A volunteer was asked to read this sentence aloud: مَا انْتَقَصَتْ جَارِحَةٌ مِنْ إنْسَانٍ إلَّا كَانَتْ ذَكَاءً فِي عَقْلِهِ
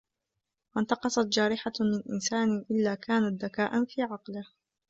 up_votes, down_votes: 0, 2